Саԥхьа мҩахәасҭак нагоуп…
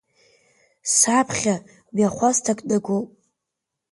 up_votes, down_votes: 1, 2